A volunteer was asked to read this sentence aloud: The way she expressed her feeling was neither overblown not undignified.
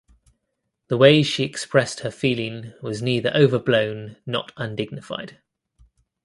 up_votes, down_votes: 2, 0